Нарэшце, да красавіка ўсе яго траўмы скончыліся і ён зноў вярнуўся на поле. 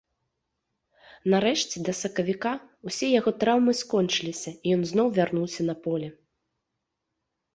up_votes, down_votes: 1, 2